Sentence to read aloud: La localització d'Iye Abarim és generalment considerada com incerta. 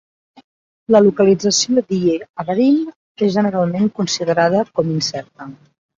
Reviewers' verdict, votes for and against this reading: rejected, 0, 2